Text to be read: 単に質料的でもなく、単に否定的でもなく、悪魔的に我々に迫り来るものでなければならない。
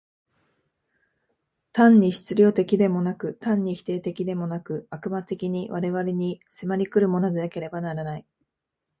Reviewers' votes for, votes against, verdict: 2, 1, accepted